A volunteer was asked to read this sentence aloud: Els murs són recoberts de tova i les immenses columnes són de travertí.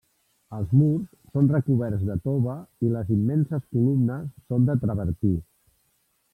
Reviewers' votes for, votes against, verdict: 1, 2, rejected